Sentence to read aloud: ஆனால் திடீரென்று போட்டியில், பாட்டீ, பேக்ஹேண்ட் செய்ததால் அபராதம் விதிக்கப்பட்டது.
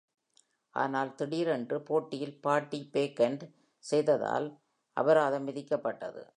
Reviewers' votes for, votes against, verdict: 2, 0, accepted